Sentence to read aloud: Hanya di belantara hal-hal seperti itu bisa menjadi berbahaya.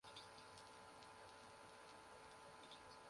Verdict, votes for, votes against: rejected, 0, 2